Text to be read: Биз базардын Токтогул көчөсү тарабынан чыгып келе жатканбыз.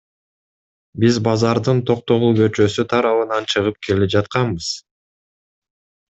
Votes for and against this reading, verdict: 2, 0, accepted